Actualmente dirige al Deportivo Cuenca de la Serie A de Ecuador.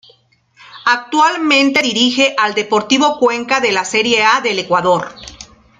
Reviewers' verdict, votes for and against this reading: rejected, 0, 2